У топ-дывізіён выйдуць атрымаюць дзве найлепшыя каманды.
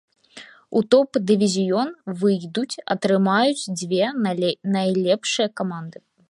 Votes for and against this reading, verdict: 0, 2, rejected